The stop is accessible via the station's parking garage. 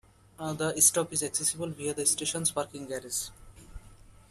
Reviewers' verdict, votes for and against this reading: rejected, 0, 2